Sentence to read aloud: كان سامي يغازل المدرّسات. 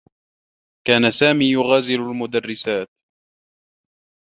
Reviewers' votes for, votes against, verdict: 1, 2, rejected